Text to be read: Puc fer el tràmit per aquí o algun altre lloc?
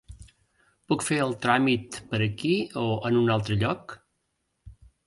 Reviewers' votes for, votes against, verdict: 1, 2, rejected